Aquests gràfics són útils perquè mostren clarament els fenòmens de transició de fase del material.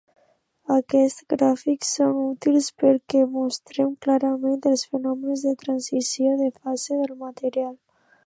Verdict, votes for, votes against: accepted, 3, 0